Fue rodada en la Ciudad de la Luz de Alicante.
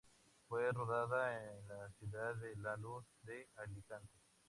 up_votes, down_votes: 0, 6